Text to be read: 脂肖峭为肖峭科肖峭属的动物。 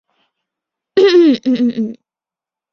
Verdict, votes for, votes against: rejected, 0, 3